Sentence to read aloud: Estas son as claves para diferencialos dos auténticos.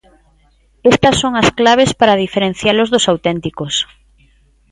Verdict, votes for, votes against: accepted, 2, 0